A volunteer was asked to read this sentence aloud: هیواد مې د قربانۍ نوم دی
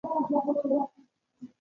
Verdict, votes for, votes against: rejected, 0, 2